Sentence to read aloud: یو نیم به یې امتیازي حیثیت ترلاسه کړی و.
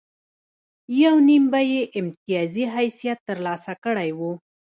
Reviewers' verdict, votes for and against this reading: rejected, 1, 2